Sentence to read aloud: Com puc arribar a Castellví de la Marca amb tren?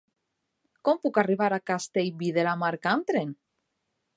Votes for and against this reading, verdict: 2, 0, accepted